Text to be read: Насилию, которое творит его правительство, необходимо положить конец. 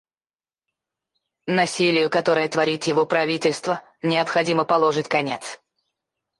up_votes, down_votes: 4, 2